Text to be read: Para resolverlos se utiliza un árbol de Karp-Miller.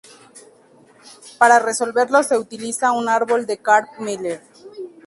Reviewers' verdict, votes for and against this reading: accepted, 2, 0